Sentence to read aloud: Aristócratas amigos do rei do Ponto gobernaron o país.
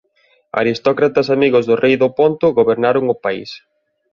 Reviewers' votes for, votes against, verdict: 2, 0, accepted